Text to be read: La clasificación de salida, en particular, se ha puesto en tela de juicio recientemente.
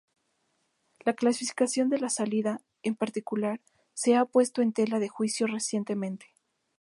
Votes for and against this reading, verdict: 2, 0, accepted